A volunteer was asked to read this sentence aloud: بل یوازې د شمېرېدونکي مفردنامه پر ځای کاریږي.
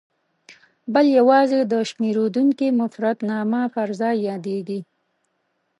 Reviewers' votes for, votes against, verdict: 1, 2, rejected